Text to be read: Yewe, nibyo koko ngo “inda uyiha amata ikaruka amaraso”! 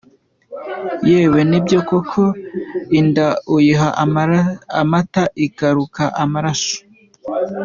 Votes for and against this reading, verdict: 0, 2, rejected